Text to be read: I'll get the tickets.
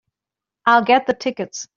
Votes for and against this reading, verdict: 2, 0, accepted